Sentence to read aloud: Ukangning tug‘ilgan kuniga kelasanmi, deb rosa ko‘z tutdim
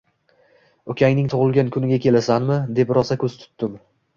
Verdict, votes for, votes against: accepted, 2, 0